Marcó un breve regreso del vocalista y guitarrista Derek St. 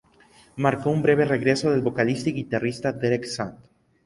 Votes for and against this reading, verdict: 0, 4, rejected